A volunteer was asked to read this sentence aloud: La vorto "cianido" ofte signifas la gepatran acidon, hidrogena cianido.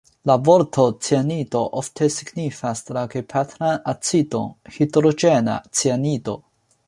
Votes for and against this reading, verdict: 2, 0, accepted